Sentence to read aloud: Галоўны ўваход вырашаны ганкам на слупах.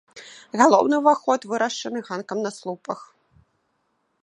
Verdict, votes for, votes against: rejected, 1, 2